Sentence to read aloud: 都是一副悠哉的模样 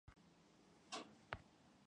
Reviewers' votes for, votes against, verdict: 0, 2, rejected